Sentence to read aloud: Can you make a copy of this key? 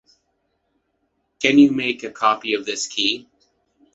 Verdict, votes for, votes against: accepted, 2, 0